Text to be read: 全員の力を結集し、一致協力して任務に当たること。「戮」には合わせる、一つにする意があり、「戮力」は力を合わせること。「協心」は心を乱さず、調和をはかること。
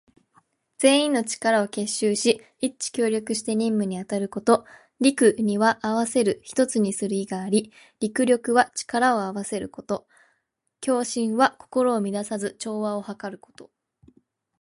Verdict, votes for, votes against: accepted, 2, 0